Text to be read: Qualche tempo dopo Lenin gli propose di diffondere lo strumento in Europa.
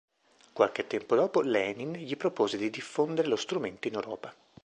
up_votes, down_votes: 2, 0